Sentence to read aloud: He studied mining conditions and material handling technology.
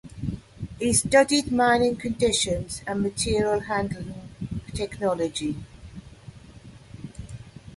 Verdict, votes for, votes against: accepted, 2, 0